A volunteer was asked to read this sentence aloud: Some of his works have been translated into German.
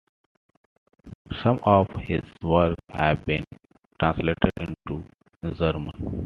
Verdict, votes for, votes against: rejected, 0, 2